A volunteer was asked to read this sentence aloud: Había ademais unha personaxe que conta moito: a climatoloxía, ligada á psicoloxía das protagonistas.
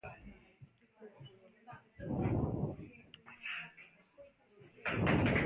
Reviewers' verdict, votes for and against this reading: rejected, 0, 2